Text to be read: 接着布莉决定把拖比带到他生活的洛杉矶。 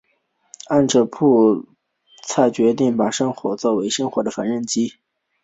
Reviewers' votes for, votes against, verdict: 1, 2, rejected